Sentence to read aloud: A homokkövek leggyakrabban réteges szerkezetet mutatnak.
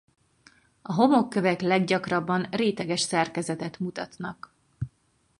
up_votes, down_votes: 4, 0